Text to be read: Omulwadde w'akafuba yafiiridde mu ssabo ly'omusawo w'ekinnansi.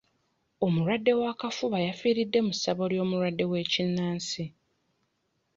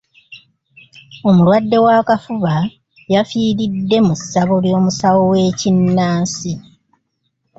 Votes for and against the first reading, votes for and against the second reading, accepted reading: 0, 2, 2, 0, second